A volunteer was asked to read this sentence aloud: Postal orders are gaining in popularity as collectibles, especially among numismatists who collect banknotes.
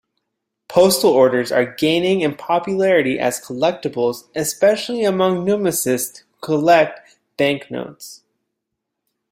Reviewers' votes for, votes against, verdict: 0, 2, rejected